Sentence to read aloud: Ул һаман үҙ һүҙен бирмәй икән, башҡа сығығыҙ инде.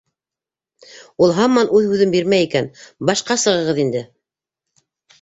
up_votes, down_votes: 2, 0